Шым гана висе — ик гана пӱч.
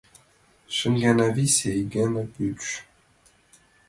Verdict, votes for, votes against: accepted, 2, 0